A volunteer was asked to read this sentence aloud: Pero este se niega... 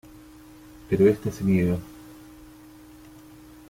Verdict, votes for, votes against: rejected, 0, 2